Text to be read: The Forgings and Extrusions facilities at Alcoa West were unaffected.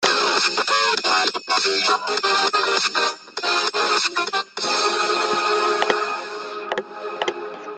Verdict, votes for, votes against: rejected, 0, 2